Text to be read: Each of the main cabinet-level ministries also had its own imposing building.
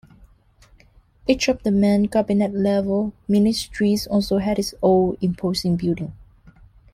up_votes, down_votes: 2, 1